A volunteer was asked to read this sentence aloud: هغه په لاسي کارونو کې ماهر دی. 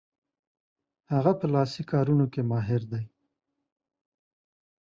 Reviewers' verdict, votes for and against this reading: accepted, 2, 0